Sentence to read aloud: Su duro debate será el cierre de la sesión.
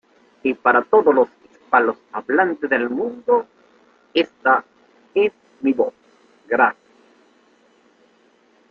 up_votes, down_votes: 0, 2